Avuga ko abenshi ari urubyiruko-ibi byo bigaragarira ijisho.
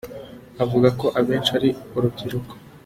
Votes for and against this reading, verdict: 0, 2, rejected